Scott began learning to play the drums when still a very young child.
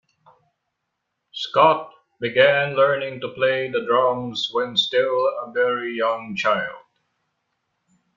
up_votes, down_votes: 2, 0